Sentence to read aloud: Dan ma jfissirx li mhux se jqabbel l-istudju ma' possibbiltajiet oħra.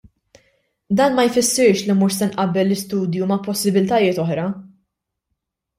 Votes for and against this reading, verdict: 1, 2, rejected